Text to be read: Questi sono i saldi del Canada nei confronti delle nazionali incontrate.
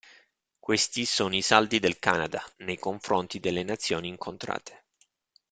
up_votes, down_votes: 1, 2